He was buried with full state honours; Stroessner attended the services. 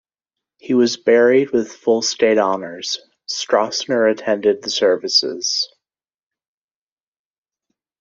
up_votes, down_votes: 2, 0